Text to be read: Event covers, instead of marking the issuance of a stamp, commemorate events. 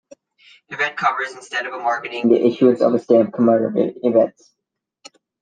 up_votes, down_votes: 1, 2